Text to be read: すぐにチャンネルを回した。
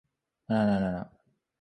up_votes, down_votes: 0, 4